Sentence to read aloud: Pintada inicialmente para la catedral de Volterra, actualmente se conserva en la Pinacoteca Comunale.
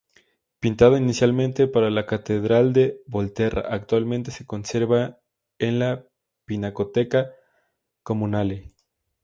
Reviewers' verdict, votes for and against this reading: accepted, 2, 0